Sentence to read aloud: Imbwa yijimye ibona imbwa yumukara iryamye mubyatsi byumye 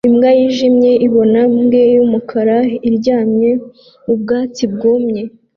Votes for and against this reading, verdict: 1, 2, rejected